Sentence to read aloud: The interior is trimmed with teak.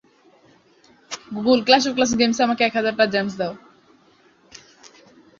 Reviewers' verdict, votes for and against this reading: rejected, 0, 2